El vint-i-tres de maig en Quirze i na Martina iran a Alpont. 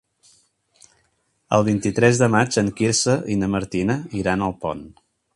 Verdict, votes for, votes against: accepted, 2, 0